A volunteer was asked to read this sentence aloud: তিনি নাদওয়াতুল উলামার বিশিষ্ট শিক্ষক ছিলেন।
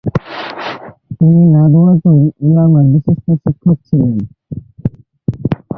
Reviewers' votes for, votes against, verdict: 0, 2, rejected